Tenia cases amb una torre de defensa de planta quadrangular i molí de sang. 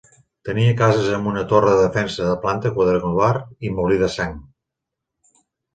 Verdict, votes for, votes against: accepted, 2, 0